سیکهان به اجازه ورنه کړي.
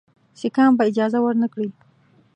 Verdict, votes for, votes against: accepted, 2, 0